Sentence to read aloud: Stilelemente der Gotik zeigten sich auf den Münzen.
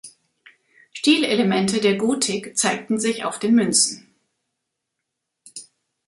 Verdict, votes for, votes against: accepted, 2, 0